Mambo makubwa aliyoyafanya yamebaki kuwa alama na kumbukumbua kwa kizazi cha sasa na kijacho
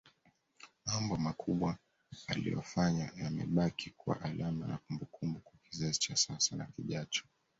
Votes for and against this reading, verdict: 2, 0, accepted